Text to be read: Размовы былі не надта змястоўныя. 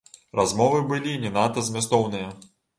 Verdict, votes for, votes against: accepted, 2, 0